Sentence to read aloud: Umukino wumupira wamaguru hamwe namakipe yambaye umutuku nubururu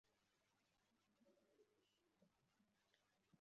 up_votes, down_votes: 1, 2